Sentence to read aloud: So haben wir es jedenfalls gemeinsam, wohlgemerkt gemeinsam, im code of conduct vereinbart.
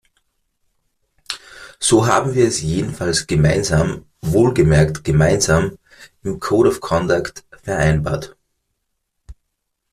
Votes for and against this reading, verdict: 2, 0, accepted